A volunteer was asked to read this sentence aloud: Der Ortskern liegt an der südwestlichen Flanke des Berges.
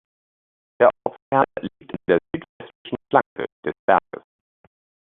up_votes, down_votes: 1, 2